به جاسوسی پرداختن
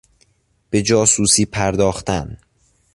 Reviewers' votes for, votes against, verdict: 2, 0, accepted